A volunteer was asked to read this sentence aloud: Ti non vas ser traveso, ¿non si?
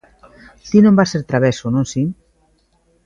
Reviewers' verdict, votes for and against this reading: accepted, 2, 1